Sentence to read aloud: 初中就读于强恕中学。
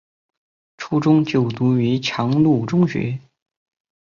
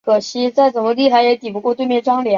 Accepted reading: second